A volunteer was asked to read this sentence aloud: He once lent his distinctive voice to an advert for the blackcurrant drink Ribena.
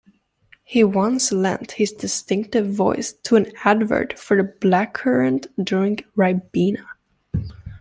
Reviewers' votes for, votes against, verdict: 2, 0, accepted